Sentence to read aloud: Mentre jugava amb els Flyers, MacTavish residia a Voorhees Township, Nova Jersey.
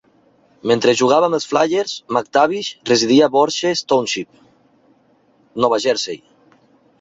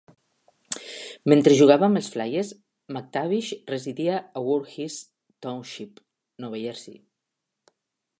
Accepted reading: second